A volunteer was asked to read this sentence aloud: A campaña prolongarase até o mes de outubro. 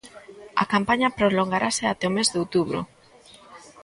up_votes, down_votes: 2, 0